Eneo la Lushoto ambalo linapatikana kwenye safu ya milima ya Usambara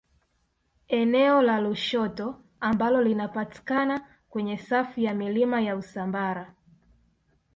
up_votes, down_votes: 2, 0